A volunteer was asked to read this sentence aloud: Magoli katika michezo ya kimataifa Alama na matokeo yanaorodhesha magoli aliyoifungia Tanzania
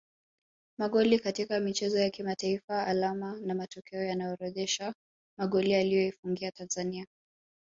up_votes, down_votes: 0, 2